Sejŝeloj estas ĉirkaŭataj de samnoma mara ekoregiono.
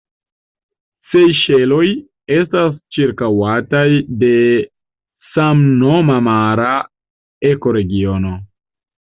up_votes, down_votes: 2, 0